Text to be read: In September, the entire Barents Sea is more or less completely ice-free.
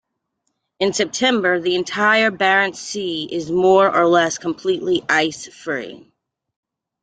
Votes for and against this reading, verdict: 2, 0, accepted